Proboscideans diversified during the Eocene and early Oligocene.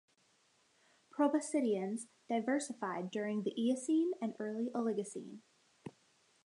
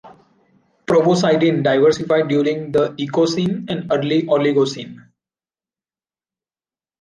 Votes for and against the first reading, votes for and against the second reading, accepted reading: 2, 0, 0, 2, first